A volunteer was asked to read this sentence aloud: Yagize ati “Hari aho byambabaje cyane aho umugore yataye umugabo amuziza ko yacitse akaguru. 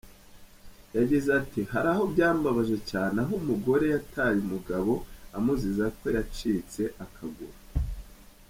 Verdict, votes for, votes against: rejected, 0, 2